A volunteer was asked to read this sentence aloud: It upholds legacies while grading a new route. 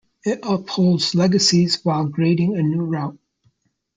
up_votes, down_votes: 2, 0